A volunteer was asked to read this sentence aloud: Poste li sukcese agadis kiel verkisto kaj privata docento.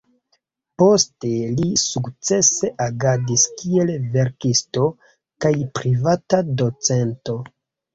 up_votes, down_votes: 2, 0